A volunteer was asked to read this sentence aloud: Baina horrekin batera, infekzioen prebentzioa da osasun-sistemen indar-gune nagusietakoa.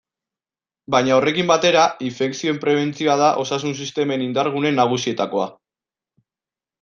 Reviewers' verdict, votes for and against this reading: accepted, 2, 0